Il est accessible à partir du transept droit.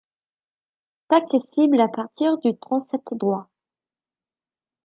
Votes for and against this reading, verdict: 0, 2, rejected